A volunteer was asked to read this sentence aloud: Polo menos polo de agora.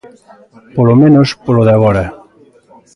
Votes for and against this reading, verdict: 1, 2, rejected